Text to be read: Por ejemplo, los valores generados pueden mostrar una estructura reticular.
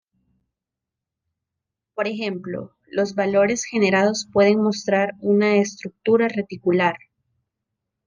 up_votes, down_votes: 2, 0